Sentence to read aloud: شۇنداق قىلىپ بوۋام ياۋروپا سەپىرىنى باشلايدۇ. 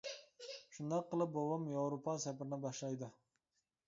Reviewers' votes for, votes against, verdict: 2, 0, accepted